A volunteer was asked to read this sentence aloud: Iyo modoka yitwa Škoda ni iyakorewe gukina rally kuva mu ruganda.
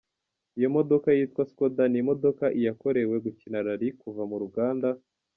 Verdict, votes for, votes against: rejected, 0, 2